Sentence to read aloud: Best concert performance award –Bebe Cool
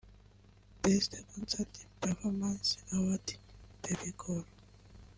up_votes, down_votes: 1, 2